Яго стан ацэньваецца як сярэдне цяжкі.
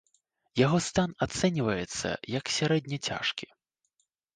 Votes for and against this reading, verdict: 2, 0, accepted